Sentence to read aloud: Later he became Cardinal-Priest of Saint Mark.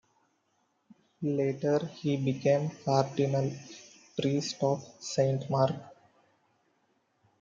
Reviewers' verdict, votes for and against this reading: accepted, 2, 0